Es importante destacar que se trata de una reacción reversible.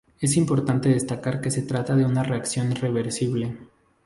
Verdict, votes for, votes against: accepted, 2, 0